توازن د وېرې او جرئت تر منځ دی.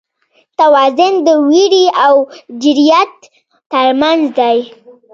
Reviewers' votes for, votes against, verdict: 0, 2, rejected